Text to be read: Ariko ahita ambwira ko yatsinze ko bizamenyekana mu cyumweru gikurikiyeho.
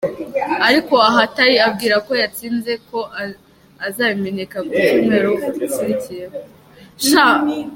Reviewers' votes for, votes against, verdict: 0, 2, rejected